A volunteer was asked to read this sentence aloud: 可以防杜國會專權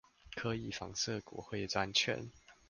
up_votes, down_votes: 0, 2